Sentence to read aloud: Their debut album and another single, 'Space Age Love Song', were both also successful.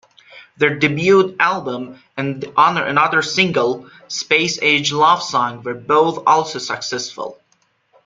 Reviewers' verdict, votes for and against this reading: rejected, 0, 2